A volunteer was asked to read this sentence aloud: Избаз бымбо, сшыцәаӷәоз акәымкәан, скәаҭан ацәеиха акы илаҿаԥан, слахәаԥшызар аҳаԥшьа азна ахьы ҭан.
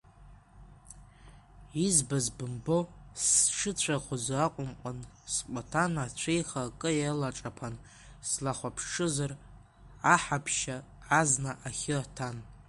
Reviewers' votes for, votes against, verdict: 1, 2, rejected